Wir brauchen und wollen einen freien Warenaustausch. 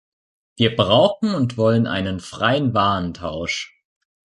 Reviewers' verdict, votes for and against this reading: rejected, 0, 2